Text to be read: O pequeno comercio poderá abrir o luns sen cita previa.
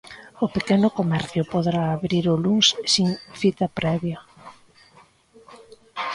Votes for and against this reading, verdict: 0, 2, rejected